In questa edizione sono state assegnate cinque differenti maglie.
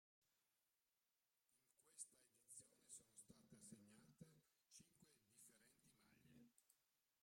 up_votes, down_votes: 0, 2